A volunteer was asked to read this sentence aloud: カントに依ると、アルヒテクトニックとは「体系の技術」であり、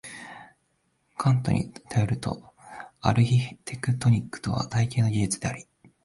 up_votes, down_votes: 1, 2